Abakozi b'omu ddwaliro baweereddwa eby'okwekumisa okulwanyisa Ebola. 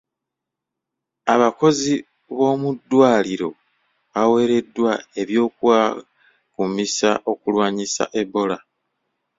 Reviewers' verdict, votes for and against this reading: rejected, 0, 2